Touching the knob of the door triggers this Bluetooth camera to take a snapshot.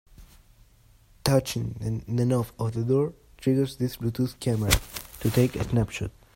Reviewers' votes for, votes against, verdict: 1, 2, rejected